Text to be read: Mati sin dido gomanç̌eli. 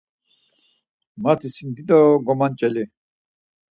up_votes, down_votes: 4, 0